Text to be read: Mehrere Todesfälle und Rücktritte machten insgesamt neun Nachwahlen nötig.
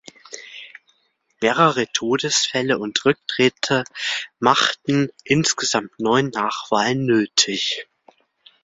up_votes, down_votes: 2, 0